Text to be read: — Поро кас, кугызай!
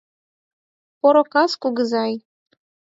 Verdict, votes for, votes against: accepted, 4, 0